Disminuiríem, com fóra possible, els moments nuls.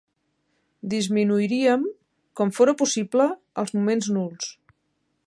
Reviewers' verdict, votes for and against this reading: accepted, 3, 0